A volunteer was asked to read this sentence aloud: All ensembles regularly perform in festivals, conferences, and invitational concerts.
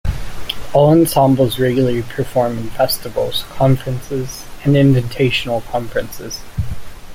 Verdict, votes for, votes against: rejected, 0, 2